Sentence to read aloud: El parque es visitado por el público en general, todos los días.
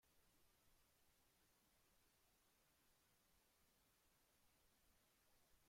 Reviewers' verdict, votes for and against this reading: rejected, 0, 2